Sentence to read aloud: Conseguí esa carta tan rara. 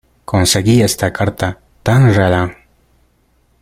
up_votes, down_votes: 1, 2